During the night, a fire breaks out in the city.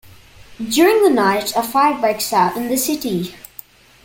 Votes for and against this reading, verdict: 2, 0, accepted